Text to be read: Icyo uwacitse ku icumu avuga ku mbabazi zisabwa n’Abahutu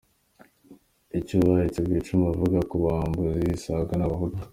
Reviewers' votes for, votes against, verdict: 1, 2, rejected